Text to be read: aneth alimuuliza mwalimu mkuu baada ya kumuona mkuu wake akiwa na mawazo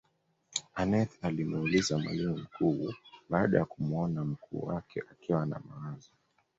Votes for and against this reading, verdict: 0, 2, rejected